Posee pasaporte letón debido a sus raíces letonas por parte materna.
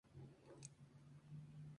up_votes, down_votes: 0, 4